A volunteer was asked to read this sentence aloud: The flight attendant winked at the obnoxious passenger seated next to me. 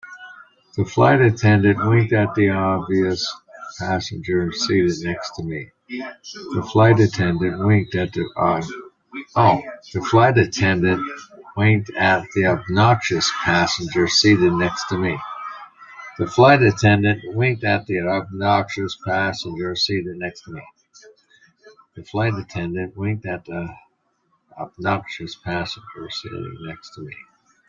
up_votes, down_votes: 0, 2